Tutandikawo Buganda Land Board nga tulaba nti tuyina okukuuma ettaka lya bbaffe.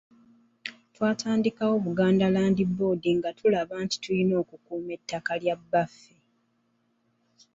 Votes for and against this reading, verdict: 1, 2, rejected